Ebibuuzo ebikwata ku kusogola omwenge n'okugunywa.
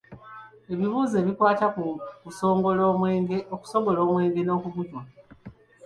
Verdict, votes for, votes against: rejected, 0, 2